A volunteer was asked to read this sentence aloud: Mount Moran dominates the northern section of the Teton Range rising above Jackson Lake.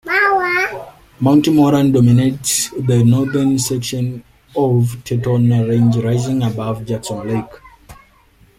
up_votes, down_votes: 1, 2